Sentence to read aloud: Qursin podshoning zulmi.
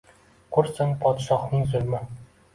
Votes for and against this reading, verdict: 3, 0, accepted